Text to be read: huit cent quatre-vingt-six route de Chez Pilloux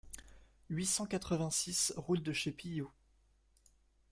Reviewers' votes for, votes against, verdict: 2, 1, accepted